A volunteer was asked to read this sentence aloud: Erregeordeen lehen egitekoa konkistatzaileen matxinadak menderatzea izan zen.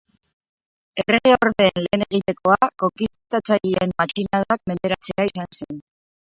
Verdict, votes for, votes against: rejected, 0, 2